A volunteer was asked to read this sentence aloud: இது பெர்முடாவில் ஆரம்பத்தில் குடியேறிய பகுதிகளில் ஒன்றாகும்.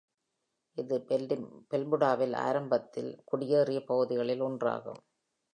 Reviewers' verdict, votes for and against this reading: rejected, 1, 2